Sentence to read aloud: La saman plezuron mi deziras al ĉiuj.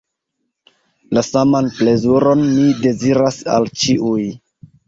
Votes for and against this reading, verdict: 1, 2, rejected